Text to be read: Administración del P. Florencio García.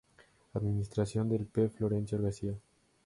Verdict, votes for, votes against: accepted, 2, 0